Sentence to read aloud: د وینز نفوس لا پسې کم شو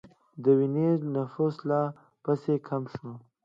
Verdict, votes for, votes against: accepted, 2, 0